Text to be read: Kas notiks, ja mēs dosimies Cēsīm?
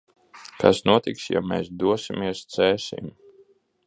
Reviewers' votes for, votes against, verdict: 2, 0, accepted